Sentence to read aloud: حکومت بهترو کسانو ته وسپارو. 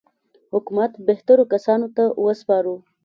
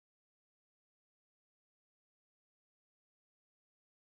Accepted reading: first